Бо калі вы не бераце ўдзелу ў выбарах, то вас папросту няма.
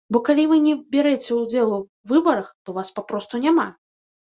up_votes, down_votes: 1, 2